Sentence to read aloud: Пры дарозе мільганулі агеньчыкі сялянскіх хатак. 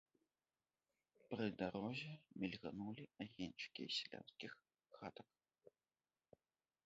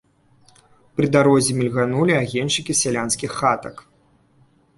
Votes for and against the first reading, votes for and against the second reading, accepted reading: 1, 2, 2, 0, second